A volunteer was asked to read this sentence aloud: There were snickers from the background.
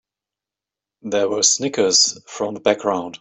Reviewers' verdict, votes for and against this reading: accepted, 3, 0